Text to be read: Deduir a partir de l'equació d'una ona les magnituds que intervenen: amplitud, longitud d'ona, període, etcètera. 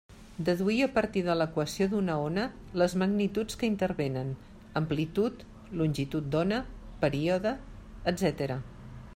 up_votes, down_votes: 2, 0